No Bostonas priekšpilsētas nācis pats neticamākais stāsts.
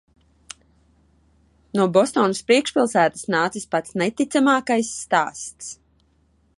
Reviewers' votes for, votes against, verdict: 2, 0, accepted